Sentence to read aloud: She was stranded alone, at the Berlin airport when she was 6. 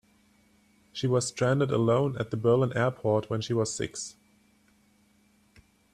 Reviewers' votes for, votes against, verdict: 0, 2, rejected